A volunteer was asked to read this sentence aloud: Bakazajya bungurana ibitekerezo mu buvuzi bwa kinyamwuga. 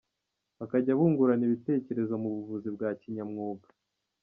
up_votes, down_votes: 2, 1